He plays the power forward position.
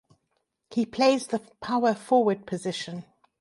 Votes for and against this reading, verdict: 2, 0, accepted